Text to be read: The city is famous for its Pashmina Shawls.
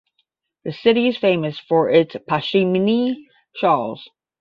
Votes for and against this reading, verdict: 5, 10, rejected